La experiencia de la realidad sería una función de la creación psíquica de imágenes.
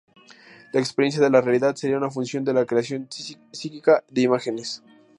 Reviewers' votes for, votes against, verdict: 2, 2, rejected